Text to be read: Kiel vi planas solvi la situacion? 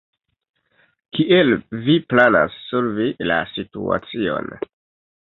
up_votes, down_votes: 1, 2